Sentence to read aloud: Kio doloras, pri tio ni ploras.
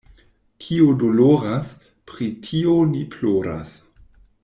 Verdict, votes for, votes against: accepted, 2, 0